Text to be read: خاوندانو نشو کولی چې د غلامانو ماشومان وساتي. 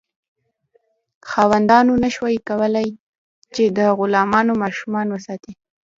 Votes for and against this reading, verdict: 0, 2, rejected